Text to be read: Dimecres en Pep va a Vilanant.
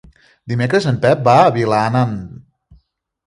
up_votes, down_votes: 1, 2